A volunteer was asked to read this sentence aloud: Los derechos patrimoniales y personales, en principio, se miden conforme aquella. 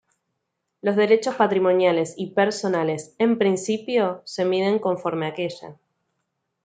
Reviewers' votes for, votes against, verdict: 2, 1, accepted